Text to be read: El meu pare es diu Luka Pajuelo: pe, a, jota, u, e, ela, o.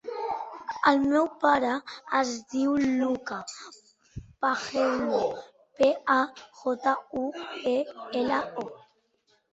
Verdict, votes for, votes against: accepted, 3, 2